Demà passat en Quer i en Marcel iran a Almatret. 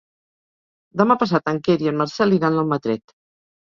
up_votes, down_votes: 1, 2